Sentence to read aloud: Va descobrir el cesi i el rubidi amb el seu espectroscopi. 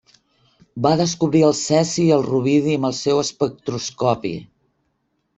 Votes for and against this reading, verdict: 1, 2, rejected